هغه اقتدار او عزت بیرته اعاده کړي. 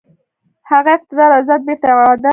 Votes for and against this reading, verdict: 2, 0, accepted